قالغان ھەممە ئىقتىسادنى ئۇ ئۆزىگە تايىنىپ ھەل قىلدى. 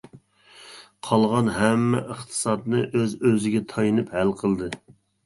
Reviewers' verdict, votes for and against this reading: rejected, 1, 2